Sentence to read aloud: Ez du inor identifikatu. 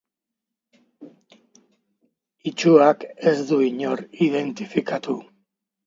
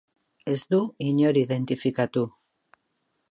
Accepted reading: second